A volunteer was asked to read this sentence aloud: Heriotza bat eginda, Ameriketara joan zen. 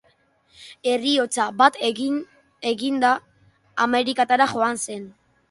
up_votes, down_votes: 0, 2